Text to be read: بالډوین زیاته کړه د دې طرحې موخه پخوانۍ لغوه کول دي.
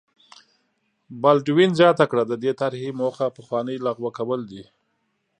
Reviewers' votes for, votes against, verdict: 2, 0, accepted